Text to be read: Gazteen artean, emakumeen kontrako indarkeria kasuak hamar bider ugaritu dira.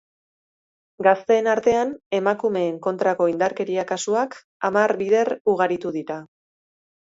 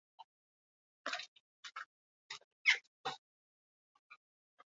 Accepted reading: first